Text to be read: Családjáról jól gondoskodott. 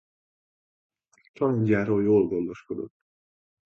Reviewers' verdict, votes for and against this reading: rejected, 0, 2